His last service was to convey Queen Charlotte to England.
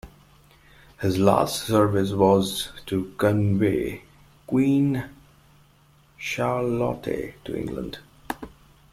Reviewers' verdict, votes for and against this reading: rejected, 0, 2